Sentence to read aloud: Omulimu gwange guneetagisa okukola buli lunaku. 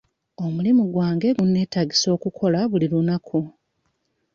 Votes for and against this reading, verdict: 0, 2, rejected